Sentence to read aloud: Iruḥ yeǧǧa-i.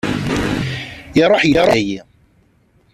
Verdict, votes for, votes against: rejected, 0, 2